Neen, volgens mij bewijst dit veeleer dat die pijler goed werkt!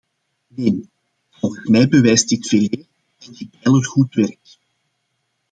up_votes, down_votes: 0, 2